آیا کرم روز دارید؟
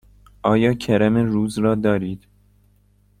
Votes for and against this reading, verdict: 1, 2, rejected